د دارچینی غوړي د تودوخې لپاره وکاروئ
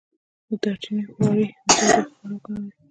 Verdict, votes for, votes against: rejected, 1, 2